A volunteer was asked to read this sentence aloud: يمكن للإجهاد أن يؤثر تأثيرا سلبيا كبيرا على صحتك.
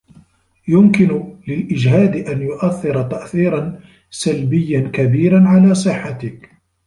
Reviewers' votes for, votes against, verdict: 2, 1, accepted